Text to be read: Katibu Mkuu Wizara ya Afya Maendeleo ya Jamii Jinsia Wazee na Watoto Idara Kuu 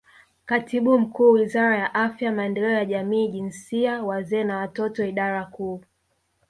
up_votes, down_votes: 2, 0